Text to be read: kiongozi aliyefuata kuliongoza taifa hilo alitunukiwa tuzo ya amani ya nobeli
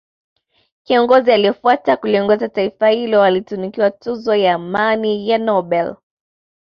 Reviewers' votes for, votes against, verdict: 2, 0, accepted